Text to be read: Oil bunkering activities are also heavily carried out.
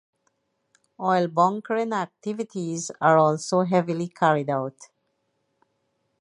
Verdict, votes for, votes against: accepted, 2, 0